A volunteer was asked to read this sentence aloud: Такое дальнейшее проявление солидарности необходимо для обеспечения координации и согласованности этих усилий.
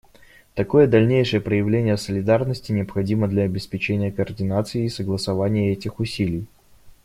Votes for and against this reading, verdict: 0, 2, rejected